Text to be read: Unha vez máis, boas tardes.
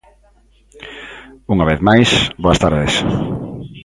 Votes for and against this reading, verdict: 2, 0, accepted